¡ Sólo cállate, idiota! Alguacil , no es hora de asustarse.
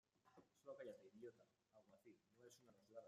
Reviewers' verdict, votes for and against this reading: rejected, 0, 2